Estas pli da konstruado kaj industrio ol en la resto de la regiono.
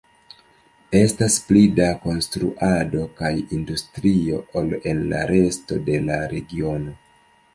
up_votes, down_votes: 2, 1